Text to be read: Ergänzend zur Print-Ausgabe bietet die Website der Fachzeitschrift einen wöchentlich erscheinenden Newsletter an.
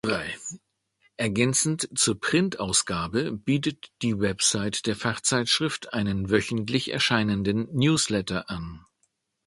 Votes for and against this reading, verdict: 1, 2, rejected